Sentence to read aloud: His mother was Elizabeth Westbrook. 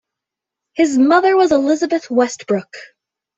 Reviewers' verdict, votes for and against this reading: accepted, 2, 0